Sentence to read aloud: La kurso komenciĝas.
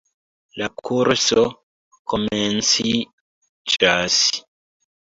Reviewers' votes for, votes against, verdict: 0, 2, rejected